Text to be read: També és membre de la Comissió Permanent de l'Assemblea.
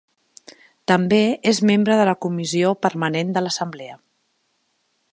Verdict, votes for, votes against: accepted, 2, 0